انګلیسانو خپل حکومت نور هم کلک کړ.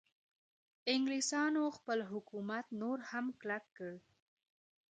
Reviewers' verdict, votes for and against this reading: accepted, 2, 0